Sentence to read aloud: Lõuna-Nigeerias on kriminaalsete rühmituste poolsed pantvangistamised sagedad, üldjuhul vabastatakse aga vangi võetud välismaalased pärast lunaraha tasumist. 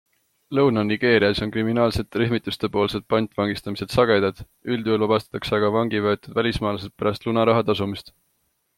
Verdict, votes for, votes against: accepted, 2, 0